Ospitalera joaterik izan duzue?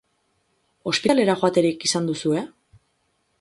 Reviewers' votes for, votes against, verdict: 0, 4, rejected